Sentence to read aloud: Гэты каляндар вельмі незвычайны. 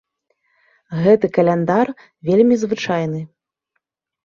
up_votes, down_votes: 0, 2